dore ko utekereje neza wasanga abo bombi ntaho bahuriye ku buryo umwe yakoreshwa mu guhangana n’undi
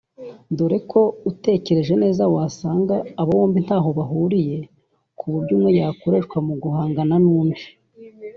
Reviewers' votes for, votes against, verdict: 2, 0, accepted